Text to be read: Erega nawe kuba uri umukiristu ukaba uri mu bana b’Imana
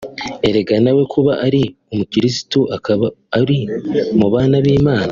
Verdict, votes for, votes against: rejected, 1, 2